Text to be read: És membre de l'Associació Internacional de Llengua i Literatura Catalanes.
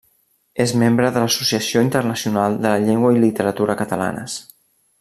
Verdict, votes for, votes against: rejected, 0, 2